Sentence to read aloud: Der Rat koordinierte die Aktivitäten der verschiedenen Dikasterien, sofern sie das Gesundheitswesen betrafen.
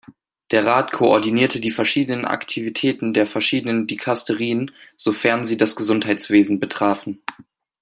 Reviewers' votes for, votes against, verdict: 1, 2, rejected